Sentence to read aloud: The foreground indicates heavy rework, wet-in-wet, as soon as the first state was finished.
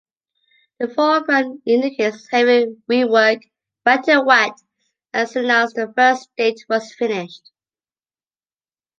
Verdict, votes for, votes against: accepted, 2, 0